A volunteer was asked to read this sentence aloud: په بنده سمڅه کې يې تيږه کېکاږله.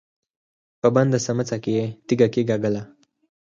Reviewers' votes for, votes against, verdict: 4, 0, accepted